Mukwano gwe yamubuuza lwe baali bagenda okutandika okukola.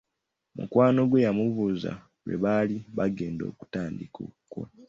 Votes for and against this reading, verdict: 2, 1, accepted